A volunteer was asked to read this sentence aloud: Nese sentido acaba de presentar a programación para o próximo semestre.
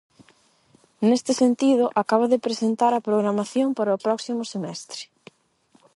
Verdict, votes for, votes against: rejected, 0, 8